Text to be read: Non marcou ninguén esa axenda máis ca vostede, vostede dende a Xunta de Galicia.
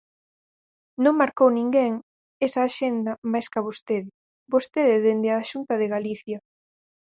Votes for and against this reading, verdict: 4, 0, accepted